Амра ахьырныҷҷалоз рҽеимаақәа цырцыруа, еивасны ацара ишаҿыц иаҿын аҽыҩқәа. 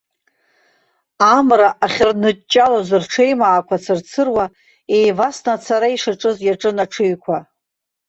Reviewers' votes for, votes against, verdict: 2, 1, accepted